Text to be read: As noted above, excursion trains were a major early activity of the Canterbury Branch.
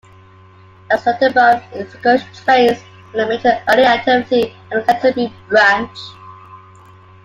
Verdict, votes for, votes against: accepted, 2, 1